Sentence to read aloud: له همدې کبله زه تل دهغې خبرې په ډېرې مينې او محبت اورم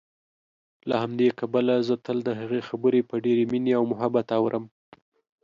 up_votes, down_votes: 2, 0